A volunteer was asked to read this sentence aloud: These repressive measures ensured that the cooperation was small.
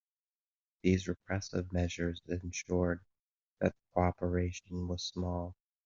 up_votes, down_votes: 2, 0